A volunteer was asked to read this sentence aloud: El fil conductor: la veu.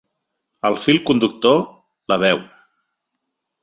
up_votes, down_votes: 2, 0